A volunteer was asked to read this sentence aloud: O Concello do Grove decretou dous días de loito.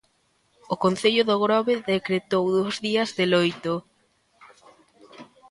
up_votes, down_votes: 2, 1